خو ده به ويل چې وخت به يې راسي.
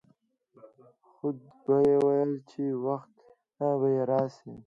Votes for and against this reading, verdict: 1, 2, rejected